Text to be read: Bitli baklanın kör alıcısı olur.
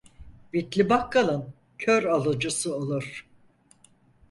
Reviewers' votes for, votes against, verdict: 0, 4, rejected